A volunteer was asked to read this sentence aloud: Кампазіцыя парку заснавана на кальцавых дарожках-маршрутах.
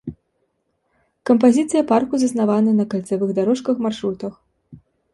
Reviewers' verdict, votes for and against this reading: accepted, 2, 0